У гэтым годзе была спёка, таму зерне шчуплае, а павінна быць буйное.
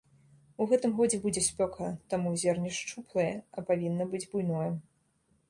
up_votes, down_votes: 1, 2